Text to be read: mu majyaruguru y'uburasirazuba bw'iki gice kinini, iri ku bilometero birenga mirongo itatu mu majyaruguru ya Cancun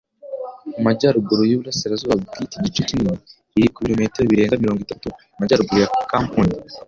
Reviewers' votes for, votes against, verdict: 0, 2, rejected